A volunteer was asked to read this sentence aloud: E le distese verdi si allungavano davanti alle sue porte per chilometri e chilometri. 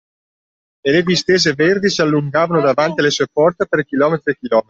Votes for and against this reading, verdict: 0, 2, rejected